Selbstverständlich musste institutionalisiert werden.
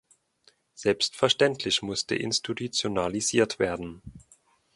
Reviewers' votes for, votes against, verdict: 1, 2, rejected